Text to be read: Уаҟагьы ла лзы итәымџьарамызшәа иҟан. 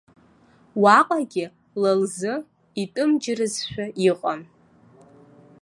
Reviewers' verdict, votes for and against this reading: rejected, 1, 2